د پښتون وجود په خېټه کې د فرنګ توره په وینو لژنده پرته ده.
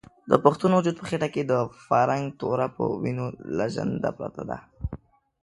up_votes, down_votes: 2, 0